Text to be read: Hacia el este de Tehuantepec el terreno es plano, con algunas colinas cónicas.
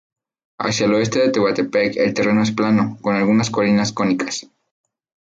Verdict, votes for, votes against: rejected, 0, 2